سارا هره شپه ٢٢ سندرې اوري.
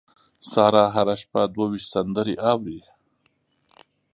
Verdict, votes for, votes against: rejected, 0, 2